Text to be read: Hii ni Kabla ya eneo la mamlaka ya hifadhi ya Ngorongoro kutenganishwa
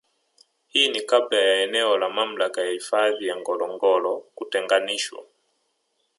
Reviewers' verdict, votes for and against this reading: rejected, 1, 2